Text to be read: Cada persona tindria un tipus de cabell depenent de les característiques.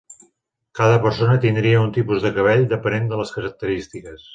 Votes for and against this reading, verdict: 3, 0, accepted